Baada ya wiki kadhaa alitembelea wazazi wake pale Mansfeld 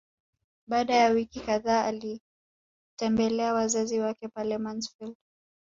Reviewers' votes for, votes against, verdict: 3, 1, accepted